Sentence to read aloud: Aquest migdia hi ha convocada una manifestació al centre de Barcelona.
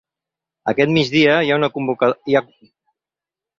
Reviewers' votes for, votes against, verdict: 0, 2, rejected